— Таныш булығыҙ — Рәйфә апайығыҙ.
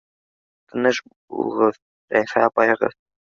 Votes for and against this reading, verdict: 1, 2, rejected